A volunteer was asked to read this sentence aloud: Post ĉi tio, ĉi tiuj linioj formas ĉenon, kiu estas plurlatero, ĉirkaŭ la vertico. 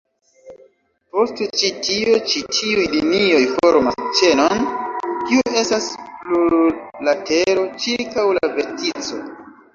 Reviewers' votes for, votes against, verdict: 0, 2, rejected